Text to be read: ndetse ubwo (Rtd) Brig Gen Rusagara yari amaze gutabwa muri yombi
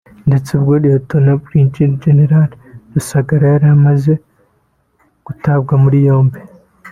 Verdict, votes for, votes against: accepted, 2, 1